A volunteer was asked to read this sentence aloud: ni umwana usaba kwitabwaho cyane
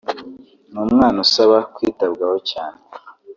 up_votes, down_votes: 2, 0